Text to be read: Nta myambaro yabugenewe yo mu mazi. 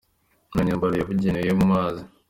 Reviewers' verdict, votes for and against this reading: rejected, 1, 2